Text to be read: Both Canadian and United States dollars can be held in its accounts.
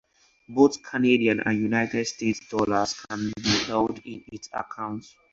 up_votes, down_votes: 4, 0